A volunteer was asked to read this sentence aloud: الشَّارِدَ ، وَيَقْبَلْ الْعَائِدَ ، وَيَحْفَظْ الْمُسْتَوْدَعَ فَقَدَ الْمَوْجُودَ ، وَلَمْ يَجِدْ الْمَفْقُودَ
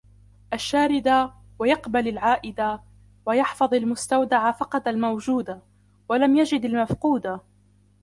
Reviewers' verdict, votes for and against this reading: rejected, 1, 2